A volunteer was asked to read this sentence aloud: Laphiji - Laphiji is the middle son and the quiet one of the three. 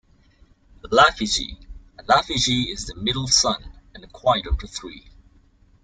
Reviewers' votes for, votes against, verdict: 2, 1, accepted